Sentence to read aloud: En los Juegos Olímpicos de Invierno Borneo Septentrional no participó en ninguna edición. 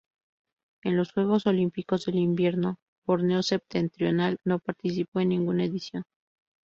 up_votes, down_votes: 0, 2